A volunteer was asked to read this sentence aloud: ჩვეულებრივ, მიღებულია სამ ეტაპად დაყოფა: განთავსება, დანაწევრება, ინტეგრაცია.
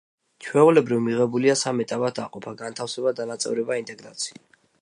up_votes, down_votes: 2, 0